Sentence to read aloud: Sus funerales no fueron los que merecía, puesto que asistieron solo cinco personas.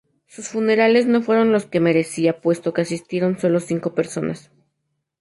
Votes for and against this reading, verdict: 2, 0, accepted